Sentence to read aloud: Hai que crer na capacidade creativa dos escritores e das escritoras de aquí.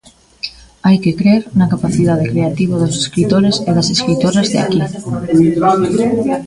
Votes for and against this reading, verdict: 1, 2, rejected